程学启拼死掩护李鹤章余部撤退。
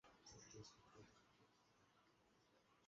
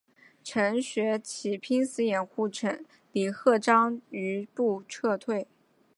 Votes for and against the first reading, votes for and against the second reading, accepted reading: 0, 2, 2, 0, second